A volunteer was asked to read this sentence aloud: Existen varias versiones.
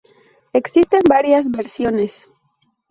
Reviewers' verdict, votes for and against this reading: accepted, 2, 0